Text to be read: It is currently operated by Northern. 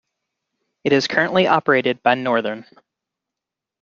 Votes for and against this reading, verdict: 0, 2, rejected